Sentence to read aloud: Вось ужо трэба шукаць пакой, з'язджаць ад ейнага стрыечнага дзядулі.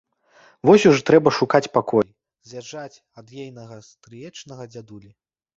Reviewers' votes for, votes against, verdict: 1, 2, rejected